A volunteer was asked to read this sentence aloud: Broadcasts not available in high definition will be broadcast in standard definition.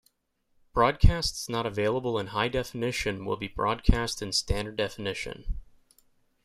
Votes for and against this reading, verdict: 3, 0, accepted